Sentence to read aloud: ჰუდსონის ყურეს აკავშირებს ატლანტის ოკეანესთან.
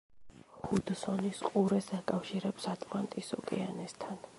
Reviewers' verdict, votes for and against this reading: accepted, 2, 0